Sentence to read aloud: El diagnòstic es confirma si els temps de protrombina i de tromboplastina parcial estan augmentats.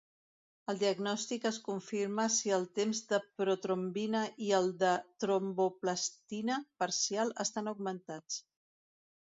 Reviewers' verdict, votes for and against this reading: rejected, 0, 2